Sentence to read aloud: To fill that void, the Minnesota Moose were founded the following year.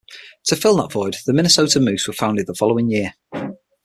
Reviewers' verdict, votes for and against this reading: accepted, 6, 0